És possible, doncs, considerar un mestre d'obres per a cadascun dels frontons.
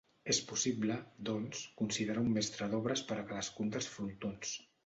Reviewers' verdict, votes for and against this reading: accepted, 2, 0